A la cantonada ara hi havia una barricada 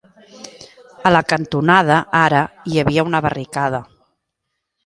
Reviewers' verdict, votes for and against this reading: accepted, 2, 0